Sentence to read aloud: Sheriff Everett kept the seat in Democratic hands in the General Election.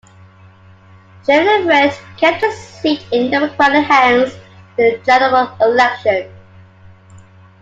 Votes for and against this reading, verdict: 0, 2, rejected